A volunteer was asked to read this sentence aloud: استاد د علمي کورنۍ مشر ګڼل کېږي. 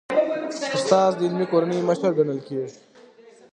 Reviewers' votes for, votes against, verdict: 2, 1, accepted